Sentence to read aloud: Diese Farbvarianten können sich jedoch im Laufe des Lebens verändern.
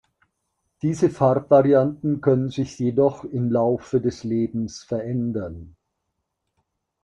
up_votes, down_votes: 2, 0